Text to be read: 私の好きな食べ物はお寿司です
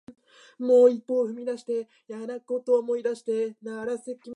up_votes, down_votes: 0, 2